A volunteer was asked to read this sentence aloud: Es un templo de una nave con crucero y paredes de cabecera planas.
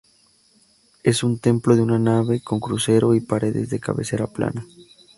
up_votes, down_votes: 0, 2